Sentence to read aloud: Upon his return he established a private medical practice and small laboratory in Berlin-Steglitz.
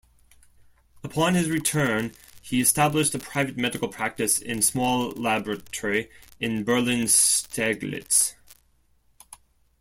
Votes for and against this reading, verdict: 0, 2, rejected